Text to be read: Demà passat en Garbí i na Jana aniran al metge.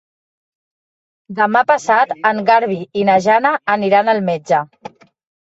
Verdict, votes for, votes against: rejected, 1, 2